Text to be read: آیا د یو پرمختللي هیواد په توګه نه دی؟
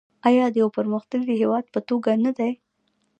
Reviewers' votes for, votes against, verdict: 2, 1, accepted